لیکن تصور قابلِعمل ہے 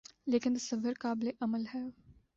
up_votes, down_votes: 2, 0